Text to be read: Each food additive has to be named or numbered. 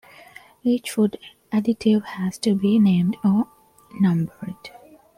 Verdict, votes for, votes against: accepted, 2, 1